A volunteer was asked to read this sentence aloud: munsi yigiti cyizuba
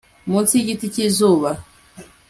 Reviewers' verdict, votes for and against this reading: accepted, 3, 0